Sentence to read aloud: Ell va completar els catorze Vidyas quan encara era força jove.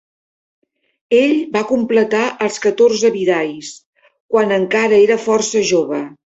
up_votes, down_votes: 2, 1